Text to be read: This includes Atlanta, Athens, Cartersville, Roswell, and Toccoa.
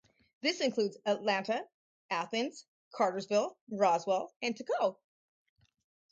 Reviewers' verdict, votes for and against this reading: rejected, 0, 2